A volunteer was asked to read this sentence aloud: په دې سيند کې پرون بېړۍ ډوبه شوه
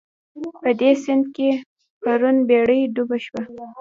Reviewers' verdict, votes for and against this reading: rejected, 1, 2